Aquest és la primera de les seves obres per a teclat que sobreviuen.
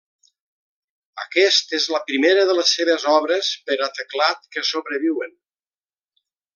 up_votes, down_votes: 3, 0